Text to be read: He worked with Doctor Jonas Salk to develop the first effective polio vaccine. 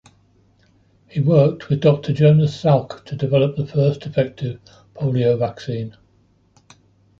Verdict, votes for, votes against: accepted, 2, 0